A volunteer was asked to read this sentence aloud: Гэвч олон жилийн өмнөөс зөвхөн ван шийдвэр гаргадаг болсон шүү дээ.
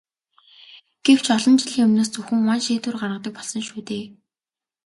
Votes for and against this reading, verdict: 2, 0, accepted